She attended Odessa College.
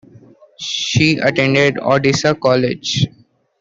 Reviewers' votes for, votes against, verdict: 2, 1, accepted